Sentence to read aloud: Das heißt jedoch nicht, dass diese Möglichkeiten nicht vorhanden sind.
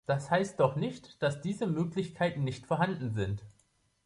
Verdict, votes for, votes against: rejected, 0, 2